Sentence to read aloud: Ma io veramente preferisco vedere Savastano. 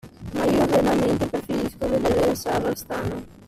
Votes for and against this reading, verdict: 1, 2, rejected